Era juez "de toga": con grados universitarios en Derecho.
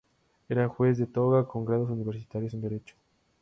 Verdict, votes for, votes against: accepted, 2, 0